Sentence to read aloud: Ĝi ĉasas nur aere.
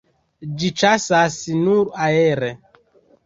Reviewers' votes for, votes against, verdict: 2, 1, accepted